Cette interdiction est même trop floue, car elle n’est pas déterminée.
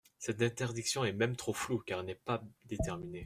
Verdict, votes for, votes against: rejected, 1, 2